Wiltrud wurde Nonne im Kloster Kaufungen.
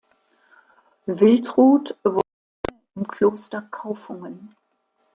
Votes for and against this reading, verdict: 0, 2, rejected